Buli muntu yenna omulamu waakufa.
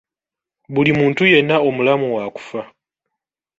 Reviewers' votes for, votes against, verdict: 2, 0, accepted